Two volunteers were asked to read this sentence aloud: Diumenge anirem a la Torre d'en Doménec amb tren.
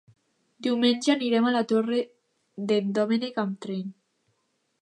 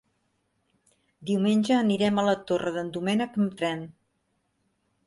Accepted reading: second